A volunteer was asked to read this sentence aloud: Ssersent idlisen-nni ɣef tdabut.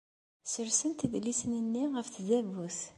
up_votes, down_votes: 2, 0